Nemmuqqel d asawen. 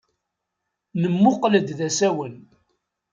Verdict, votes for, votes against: rejected, 2, 3